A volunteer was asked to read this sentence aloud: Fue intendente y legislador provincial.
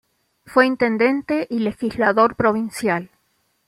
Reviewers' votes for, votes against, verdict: 2, 0, accepted